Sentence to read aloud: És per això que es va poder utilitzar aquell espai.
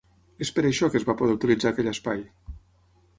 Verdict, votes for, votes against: accepted, 6, 0